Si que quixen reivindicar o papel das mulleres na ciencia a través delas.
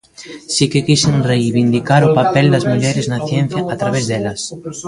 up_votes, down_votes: 1, 2